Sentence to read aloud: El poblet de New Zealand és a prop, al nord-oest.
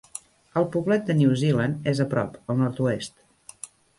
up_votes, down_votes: 1, 2